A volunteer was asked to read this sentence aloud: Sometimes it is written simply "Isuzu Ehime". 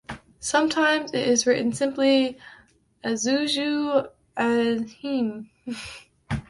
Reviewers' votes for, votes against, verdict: 1, 2, rejected